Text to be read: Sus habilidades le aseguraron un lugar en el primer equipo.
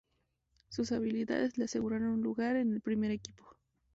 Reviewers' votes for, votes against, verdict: 2, 2, rejected